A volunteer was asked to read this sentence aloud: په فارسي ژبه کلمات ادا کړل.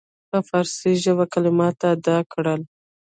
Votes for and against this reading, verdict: 1, 2, rejected